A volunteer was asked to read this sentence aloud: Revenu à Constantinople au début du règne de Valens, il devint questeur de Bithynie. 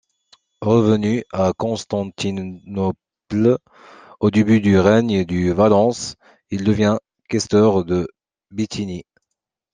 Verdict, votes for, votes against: rejected, 0, 2